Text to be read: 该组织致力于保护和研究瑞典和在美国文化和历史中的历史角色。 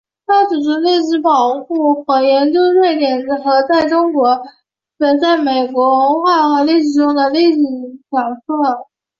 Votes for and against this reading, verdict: 1, 4, rejected